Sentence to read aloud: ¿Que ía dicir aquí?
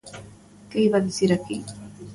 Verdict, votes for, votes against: rejected, 0, 2